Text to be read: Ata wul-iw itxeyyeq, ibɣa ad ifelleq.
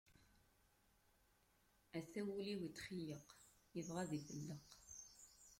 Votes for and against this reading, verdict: 1, 2, rejected